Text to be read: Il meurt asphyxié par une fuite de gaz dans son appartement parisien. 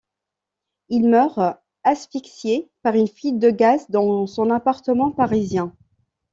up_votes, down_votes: 2, 0